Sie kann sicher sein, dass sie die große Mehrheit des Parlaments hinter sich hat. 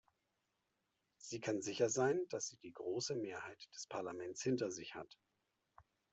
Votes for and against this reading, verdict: 0, 2, rejected